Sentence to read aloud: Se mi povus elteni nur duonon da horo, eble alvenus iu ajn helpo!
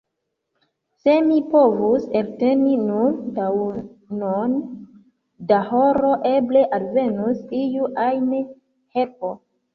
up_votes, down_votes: 0, 2